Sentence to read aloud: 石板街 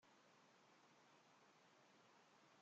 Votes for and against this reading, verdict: 0, 2, rejected